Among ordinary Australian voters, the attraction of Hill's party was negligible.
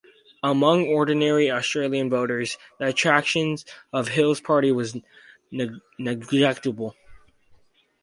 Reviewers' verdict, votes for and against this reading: rejected, 0, 4